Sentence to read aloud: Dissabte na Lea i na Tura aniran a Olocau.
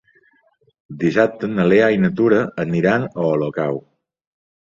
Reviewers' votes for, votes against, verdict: 4, 0, accepted